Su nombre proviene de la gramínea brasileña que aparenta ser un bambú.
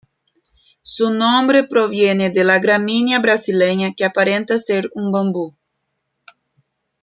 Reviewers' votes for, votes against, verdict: 2, 0, accepted